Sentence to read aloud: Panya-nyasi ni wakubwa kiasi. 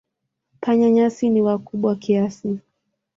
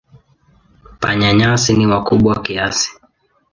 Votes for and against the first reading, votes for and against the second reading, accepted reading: 12, 2, 1, 2, first